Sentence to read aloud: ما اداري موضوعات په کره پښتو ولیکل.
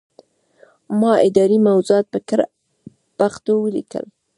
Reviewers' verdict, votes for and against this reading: rejected, 1, 2